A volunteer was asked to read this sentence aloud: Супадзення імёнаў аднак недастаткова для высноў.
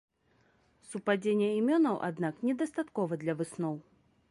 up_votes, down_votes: 2, 0